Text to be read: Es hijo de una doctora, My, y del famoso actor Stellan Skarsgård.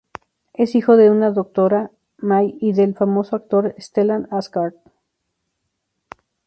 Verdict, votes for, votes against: rejected, 0, 2